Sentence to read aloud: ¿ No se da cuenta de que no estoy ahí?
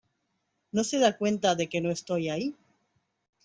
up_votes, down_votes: 2, 0